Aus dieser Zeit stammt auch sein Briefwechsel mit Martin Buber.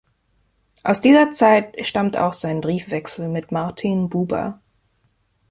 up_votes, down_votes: 2, 0